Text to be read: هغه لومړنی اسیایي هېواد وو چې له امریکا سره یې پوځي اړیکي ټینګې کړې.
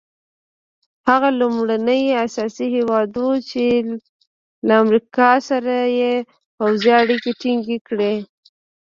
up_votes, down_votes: 0, 2